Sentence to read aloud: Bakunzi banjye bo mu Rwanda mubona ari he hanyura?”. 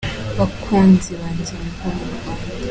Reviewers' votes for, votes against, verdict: 1, 2, rejected